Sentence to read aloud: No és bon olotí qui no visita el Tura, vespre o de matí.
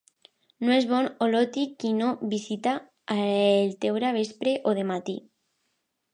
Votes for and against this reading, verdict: 0, 2, rejected